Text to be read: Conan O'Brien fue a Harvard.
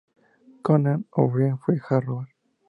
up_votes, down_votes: 0, 2